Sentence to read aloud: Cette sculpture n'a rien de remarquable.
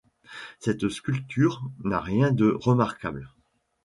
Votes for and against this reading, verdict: 2, 0, accepted